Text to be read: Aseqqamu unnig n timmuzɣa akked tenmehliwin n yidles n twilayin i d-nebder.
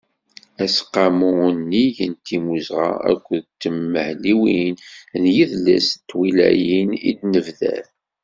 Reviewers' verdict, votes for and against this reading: accepted, 2, 0